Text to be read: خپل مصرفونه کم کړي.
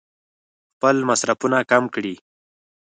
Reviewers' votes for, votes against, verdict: 4, 0, accepted